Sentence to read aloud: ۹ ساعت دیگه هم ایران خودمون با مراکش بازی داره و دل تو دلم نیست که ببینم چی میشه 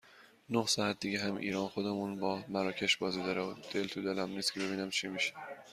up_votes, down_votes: 0, 2